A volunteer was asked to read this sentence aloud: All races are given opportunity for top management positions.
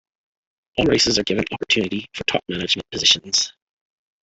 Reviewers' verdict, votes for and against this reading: rejected, 1, 2